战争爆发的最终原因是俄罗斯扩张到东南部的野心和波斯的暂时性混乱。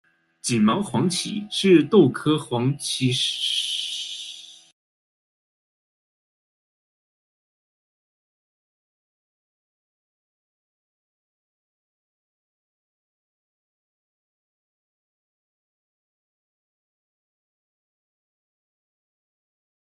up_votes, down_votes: 0, 2